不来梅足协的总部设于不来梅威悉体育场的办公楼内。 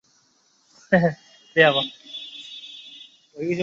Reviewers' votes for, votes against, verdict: 0, 3, rejected